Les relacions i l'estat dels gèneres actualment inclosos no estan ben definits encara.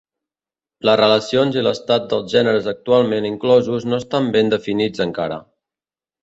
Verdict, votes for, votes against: rejected, 1, 2